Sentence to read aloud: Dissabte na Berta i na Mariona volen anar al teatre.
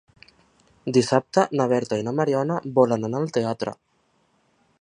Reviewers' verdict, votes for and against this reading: accepted, 3, 0